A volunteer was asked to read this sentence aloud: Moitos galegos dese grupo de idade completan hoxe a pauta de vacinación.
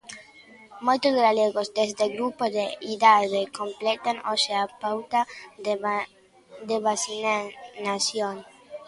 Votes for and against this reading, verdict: 0, 3, rejected